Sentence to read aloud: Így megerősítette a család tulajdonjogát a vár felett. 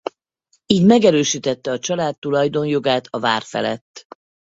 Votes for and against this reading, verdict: 4, 0, accepted